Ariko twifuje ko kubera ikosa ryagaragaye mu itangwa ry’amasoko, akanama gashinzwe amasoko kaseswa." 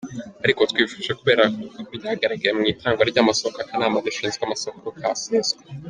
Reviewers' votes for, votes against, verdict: 1, 3, rejected